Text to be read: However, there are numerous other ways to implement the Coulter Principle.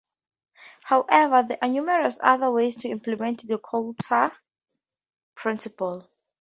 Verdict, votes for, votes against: rejected, 2, 2